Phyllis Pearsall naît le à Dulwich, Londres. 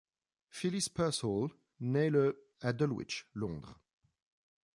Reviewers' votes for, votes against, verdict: 1, 2, rejected